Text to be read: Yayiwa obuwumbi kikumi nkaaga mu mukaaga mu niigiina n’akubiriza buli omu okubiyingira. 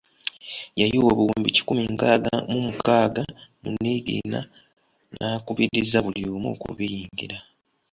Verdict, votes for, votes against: accepted, 3, 0